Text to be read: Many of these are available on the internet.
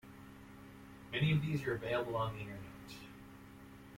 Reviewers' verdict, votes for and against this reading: rejected, 1, 2